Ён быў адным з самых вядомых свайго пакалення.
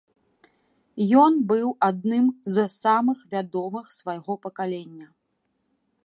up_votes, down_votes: 1, 2